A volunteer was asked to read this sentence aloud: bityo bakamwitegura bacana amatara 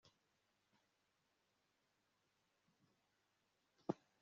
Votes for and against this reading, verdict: 0, 2, rejected